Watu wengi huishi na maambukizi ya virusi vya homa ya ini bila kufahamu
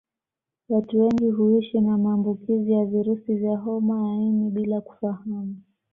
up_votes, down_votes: 2, 0